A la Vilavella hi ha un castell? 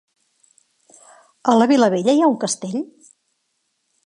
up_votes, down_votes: 3, 0